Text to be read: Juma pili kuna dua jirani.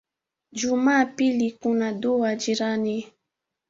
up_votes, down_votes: 2, 1